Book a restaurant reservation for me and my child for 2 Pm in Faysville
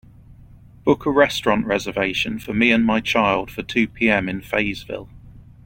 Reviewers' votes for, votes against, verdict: 0, 2, rejected